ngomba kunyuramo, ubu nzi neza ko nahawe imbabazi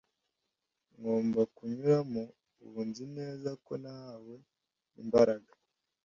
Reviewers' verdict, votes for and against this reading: rejected, 0, 2